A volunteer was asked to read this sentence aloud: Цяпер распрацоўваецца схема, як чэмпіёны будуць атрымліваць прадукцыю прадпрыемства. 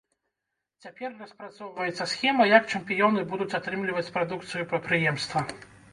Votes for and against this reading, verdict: 1, 2, rejected